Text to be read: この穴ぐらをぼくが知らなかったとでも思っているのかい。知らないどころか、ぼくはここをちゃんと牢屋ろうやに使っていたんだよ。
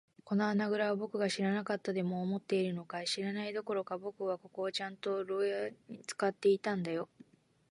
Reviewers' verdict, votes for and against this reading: rejected, 1, 2